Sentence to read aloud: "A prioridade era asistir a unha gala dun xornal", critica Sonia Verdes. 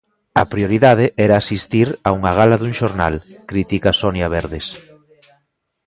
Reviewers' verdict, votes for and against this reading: rejected, 1, 2